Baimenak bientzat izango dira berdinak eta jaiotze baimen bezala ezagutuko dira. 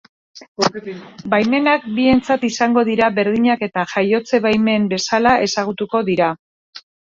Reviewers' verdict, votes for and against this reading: rejected, 1, 3